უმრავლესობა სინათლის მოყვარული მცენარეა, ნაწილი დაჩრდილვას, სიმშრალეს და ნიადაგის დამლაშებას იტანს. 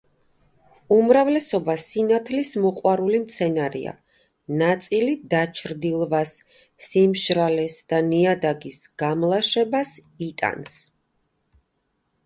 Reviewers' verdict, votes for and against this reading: rejected, 0, 2